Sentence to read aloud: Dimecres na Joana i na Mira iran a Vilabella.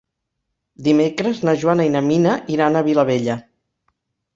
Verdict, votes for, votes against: rejected, 1, 2